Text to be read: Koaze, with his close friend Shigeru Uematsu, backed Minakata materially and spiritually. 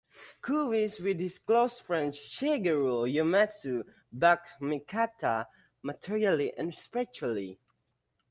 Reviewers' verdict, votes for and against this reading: rejected, 1, 2